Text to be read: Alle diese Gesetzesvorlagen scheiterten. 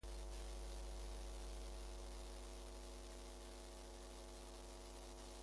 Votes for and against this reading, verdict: 0, 2, rejected